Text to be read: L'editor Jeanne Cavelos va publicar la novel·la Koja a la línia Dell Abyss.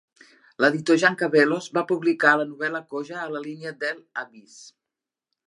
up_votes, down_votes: 2, 0